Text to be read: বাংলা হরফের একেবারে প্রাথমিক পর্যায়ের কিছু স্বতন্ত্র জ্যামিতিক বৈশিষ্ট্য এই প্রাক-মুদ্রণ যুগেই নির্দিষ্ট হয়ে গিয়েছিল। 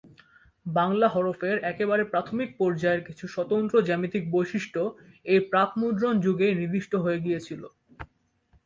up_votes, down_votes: 2, 0